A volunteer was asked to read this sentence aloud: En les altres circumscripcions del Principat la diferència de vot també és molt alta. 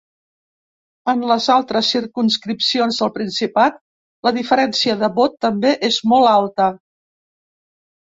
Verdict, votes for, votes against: accepted, 3, 0